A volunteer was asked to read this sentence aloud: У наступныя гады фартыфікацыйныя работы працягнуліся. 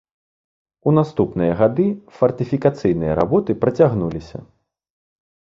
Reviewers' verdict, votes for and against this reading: accepted, 2, 0